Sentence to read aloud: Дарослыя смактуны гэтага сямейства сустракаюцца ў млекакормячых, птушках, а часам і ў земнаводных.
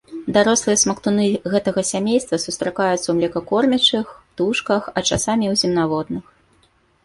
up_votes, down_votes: 2, 0